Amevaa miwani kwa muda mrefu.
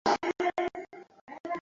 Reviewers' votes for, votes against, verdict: 0, 2, rejected